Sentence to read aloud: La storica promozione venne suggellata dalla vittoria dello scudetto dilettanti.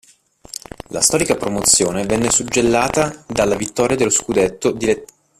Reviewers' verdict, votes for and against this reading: rejected, 1, 2